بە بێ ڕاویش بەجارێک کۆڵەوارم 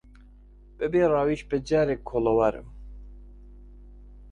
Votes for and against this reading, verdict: 2, 0, accepted